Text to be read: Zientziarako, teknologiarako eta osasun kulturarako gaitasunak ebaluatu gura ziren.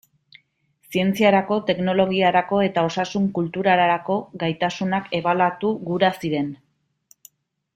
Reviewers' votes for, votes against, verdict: 2, 0, accepted